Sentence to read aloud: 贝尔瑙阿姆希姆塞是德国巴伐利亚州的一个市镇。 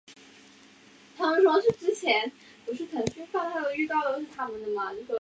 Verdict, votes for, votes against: rejected, 0, 2